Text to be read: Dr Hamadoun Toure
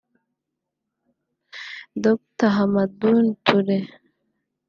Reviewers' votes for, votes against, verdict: 1, 2, rejected